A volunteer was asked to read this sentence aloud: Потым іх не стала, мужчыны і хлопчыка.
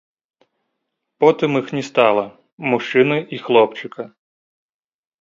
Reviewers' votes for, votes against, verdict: 1, 2, rejected